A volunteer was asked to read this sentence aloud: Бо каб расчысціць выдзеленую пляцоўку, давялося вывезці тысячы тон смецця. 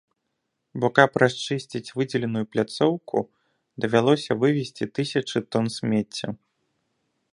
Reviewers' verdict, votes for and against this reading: accepted, 2, 0